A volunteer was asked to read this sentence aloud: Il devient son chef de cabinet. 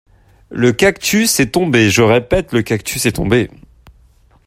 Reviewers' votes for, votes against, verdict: 0, 2, rejected